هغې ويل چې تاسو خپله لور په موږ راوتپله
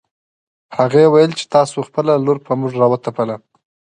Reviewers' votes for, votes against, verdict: 2, 0, accepted